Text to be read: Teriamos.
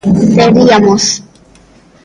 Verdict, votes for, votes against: rejected, 0, 3